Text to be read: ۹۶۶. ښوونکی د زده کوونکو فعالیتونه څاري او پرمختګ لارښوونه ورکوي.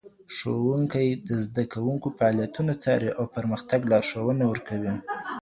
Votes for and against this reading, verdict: 0, 2, rejected